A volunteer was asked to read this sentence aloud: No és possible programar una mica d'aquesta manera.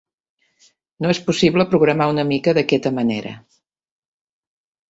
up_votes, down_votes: 0, 2